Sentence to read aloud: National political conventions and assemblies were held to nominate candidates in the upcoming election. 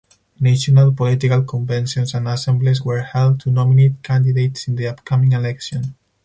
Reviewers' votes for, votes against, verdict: 4, 2, accepted